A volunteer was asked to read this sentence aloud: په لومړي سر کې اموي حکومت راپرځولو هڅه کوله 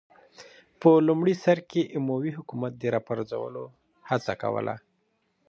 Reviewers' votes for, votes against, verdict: 2, 0, accepted